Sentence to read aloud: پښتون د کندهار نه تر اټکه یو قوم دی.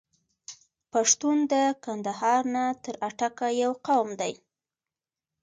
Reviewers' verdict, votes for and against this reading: accepted, 2, 0